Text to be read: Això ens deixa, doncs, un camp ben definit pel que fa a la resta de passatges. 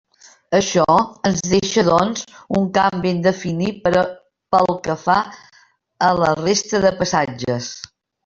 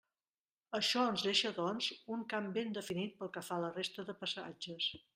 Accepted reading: second